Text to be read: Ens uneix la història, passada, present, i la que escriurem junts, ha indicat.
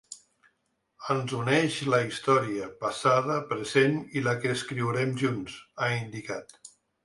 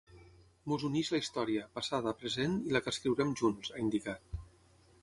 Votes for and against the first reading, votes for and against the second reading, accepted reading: 3, 0, 3, 6, first